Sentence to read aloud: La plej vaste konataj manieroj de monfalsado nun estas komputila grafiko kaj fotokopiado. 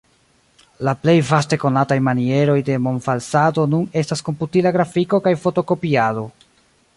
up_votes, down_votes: 0, 2